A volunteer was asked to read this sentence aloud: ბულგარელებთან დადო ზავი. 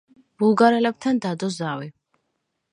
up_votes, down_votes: 2, 0